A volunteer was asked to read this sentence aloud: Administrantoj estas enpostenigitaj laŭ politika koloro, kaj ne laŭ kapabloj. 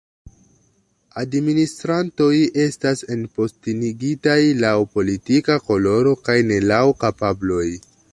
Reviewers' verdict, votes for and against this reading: accepted, 2, 0